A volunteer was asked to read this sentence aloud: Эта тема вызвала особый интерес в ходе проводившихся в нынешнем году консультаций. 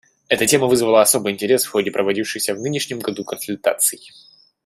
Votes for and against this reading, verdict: 2, 0, accepted